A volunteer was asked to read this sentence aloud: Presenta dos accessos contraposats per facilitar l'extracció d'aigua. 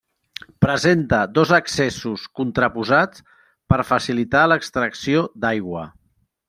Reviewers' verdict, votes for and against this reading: accepted, 3, 0